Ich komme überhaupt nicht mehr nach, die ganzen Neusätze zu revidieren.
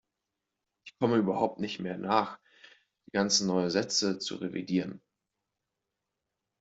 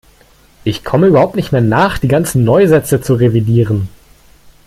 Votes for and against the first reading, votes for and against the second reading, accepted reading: 0, 2, 2, 0, second